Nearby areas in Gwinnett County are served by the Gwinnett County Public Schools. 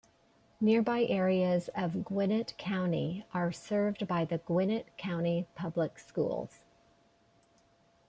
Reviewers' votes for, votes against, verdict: 1, 2, rejected